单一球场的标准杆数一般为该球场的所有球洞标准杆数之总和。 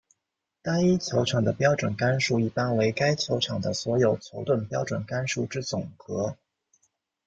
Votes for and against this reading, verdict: 2, 1, accepted